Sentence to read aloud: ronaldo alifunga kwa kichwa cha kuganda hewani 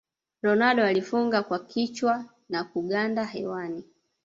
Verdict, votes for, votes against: rejected, 1, 2